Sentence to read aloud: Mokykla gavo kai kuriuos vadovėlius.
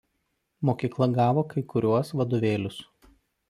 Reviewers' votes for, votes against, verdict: 0, 2, rejected